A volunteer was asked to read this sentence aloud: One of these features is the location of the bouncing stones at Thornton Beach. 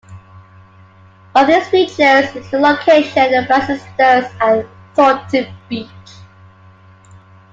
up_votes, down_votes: 0, 2